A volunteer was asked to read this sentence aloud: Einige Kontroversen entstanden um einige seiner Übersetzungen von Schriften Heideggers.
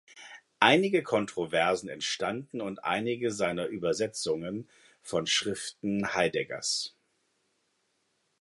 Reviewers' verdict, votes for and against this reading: rejected, 1, 2